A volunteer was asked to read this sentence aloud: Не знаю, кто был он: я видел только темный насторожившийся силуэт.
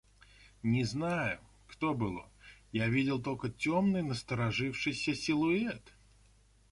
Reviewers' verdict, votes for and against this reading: accepted, 2, 0